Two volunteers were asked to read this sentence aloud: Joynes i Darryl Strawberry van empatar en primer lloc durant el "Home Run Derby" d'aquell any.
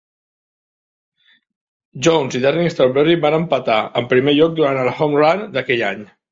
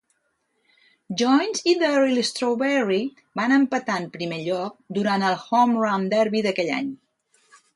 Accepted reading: second